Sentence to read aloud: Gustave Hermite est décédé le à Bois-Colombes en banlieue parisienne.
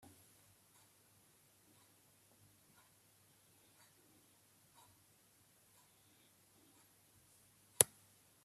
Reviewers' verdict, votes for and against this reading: rejected, 0, 2